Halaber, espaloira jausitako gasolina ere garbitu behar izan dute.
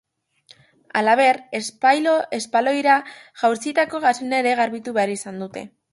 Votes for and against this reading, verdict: 0, 2, rejected